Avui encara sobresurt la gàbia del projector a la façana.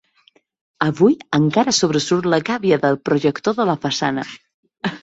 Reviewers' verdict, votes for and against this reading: rejected, 1, 2